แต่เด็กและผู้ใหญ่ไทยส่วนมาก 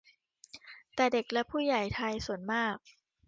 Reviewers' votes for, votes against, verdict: 2, 0, accepted